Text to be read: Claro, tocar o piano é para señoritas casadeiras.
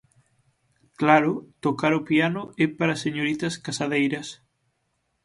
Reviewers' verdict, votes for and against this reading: accepted, 6, 0